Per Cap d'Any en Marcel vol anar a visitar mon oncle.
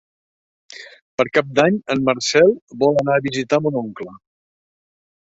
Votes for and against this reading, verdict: 1, 2, rejected